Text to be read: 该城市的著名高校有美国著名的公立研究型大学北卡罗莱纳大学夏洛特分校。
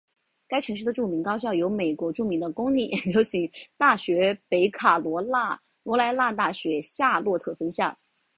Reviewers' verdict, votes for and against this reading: rejected, 1, 3